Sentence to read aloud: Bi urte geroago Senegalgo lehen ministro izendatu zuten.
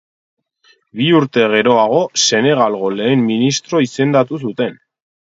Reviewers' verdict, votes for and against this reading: accepted, 8, 0